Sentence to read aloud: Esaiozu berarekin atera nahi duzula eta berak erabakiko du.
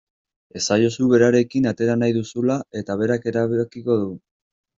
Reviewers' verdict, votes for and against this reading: rejected, 0, 2